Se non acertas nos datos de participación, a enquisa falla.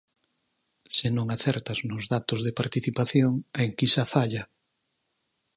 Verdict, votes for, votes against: accepted, 20, 0